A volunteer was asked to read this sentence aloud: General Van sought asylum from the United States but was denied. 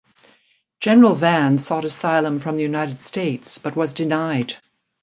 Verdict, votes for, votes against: accepted, 2, 0